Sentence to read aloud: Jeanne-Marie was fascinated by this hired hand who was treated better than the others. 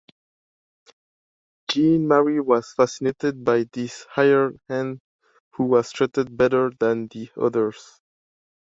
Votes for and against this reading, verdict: 2, 0, accepted